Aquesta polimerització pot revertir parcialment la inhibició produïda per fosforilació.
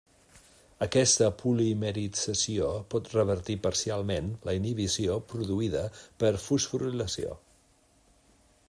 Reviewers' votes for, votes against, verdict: 0, 2, rejected